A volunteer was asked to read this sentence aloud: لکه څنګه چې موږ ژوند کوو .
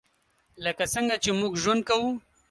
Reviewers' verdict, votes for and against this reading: accepted, 2, 0